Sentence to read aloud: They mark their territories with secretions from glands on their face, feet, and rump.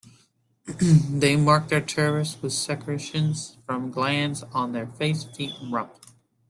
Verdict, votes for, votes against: rejected, 0, 2